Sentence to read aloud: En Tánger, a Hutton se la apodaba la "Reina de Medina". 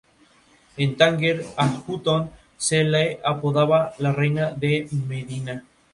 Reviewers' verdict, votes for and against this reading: accepted, 4, 0